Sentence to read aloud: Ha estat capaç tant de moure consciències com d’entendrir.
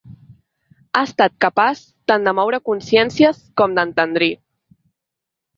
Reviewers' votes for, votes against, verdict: 2, 0, accepted